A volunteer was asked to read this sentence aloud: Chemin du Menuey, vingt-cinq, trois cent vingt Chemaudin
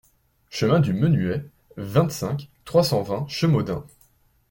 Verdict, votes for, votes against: accepted, 2, 0